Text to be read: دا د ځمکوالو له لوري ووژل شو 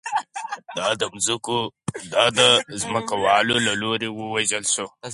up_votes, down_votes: 0, 4